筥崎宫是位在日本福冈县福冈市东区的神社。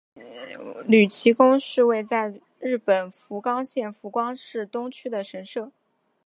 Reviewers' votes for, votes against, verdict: 2, 1, accepted